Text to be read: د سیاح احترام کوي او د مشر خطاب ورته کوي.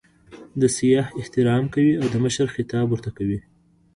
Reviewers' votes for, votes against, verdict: 2, 0, accepted